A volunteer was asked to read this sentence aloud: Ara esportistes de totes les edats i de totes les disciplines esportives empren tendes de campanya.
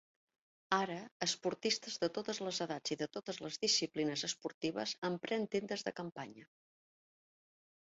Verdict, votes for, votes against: rejected, 0, 2